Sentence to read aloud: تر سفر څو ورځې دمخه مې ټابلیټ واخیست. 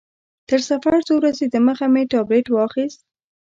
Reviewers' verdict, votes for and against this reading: accepted, 2, 0